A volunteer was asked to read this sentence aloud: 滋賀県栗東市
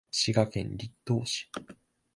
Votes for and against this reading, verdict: 2, 0, accepted